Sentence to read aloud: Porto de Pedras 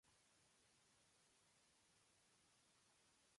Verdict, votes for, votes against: rejected, 0, 2